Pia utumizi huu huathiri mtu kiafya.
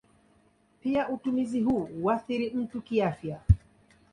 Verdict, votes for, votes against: accepted, 2, 0